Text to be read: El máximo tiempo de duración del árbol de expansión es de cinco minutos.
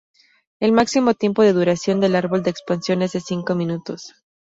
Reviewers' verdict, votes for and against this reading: accepted, 2, 0